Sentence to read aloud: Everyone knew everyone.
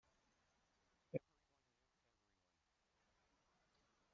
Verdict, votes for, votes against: rejected, 0, 2